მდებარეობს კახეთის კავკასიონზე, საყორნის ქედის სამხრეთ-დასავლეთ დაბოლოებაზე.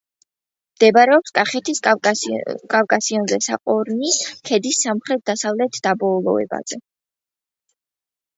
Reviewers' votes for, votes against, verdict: 1, 2, rejected